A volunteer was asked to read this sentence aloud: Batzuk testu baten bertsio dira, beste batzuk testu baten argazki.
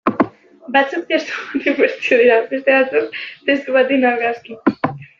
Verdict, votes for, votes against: rejected, 0, 2